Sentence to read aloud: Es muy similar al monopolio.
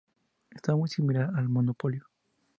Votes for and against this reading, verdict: 2, 0, accepted